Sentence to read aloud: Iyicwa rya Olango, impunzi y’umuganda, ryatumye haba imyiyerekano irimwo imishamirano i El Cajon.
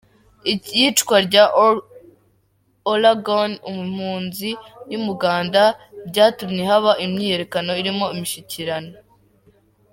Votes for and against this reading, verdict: 1, 3, rejected